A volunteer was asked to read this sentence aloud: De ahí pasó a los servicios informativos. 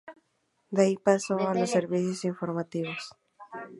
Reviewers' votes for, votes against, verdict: 2, 0, accepted